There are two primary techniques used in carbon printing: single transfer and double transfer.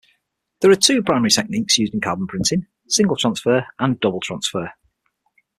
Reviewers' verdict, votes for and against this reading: accepted, 6, 0